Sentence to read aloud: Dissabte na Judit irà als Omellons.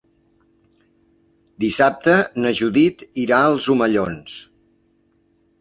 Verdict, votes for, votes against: accepted, 2, 0